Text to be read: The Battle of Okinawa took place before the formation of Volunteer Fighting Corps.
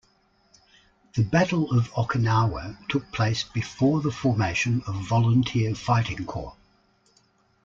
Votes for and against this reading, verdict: 2, 0, accepted